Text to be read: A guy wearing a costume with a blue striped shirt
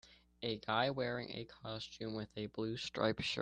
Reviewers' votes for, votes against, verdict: 2, 1, accepted